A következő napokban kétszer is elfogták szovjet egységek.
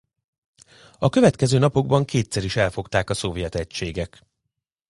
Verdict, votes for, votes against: rejected, 0, 2